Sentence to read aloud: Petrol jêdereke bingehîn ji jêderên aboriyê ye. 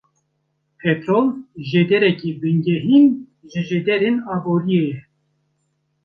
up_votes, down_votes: 1, 2